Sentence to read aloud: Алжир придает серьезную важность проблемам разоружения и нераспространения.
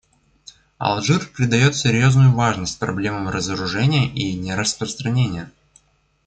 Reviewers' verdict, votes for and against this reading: accepted, 2, 0